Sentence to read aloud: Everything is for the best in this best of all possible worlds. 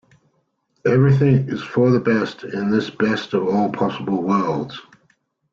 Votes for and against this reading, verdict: 2, 0, accepted